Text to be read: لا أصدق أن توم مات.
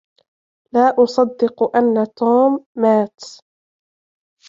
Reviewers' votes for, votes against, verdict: 1, 2, rejected